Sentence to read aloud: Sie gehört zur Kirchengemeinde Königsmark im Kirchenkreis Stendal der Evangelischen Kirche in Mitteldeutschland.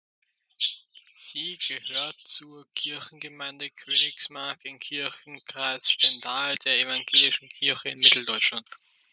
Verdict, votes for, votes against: rejected, 1, 2